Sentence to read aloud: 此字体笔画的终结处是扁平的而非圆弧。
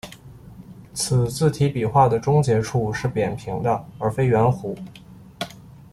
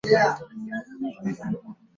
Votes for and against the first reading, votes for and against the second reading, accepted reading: 2, 0, 0, 8, first